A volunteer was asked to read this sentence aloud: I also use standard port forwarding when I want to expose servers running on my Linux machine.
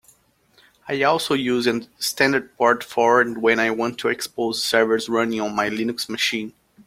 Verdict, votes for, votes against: rejected, 0, 2